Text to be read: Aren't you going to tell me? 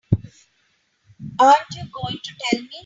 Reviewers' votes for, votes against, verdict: 2, 0, accepted